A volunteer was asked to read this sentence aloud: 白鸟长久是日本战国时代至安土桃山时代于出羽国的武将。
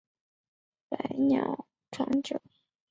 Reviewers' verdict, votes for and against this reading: rejected, 2, 2